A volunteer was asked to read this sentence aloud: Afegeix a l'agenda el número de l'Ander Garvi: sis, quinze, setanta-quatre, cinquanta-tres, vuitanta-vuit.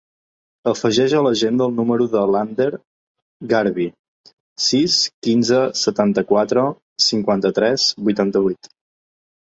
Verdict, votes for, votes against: rejected, 0, 2